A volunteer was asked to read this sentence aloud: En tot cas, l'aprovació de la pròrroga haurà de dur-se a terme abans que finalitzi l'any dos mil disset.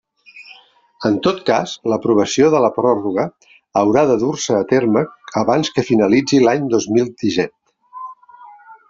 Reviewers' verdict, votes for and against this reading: rejected, 1, 2